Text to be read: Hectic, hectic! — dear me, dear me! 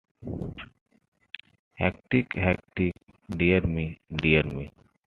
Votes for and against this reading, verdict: 2, 1, accepted